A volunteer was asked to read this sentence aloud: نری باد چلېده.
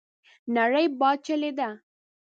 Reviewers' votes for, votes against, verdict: 1, 2, rejected